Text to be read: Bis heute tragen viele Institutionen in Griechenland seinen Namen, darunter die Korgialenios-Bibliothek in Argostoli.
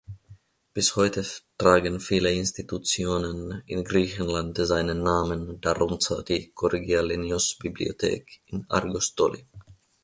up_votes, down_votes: 0, 2